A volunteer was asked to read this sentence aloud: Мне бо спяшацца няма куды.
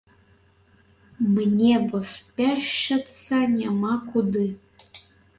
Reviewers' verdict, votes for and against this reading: rejected, 1, 2